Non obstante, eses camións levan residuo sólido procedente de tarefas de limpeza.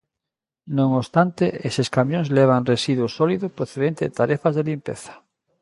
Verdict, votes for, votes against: accepted, 2, 0